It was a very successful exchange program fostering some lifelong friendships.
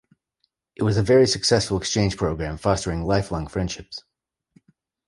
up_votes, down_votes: 0, 2